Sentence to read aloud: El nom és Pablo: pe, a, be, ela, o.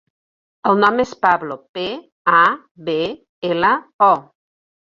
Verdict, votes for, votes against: accepted, 2, 0